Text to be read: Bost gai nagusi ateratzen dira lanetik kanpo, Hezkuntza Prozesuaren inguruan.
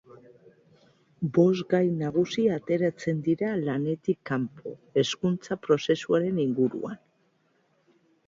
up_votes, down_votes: 2, 1